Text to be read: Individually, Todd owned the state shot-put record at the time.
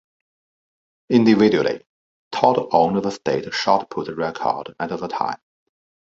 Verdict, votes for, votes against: rejected, 1, 2